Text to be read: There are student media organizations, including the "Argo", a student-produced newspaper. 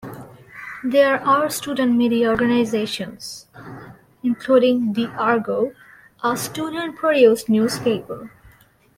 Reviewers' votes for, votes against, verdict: 2, 0, accepted